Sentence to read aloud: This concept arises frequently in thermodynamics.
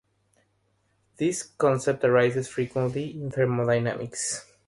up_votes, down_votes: 3, 0